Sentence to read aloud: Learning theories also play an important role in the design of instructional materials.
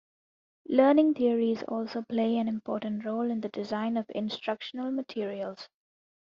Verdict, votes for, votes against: accepted, 2, 1